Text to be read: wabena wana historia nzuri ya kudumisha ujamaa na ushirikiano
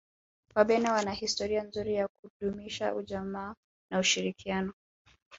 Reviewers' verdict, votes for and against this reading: rejected, 1, 2